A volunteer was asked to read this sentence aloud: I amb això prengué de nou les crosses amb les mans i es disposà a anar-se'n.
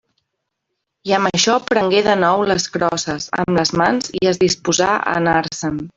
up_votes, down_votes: 0, 2